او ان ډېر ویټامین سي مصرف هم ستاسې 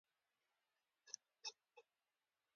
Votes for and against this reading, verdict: 2, 0, accepted